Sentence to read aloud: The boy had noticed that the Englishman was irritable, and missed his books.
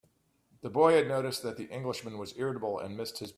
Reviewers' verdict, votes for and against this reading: rejected, 0, 2